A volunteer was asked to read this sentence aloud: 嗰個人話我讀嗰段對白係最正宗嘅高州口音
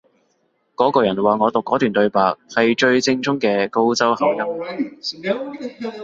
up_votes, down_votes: 1, 2